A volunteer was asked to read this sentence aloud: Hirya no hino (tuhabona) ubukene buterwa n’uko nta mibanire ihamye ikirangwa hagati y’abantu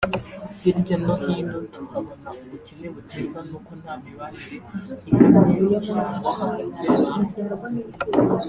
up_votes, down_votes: 1, 2